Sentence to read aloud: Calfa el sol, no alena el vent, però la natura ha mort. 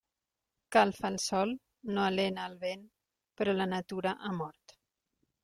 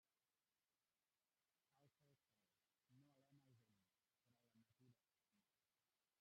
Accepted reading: first